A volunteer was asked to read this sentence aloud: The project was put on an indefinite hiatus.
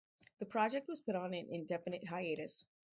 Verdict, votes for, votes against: rejected, 0, 2